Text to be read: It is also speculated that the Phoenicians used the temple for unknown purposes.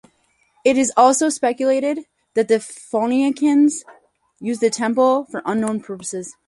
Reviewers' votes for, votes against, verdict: 0, 4, rejected